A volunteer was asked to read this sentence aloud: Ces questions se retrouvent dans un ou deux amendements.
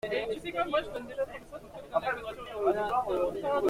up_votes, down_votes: 0, 2